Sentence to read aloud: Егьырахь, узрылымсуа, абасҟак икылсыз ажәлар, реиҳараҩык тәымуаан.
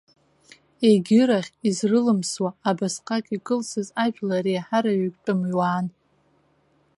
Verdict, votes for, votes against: rejected, 1, 2